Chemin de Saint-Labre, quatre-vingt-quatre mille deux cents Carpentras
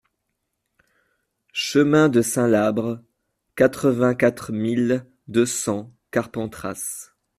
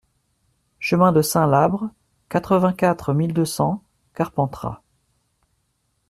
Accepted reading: second